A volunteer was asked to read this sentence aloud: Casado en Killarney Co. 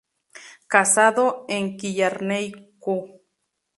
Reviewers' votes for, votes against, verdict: 0, 2, rejected